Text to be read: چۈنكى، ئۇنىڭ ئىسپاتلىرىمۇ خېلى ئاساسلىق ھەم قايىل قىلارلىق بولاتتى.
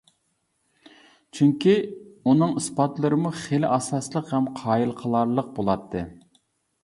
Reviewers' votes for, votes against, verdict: 2, 0, accepted